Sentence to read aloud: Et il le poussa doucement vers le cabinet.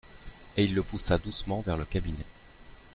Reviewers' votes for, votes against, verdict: 2, 0, accepted